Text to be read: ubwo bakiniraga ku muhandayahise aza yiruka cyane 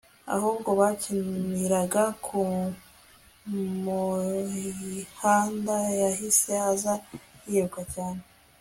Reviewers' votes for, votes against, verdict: 1, 2, rejected